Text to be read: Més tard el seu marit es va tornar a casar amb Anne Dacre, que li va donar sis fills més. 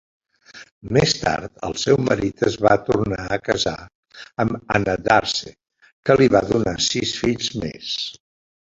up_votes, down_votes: 0, 2